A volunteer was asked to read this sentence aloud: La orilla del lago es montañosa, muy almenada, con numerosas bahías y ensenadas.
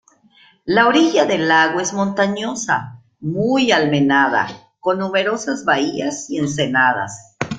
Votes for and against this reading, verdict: 1, 2, rejected